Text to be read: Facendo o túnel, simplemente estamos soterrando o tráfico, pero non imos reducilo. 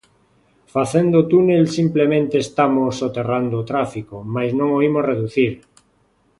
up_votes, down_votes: 0, 3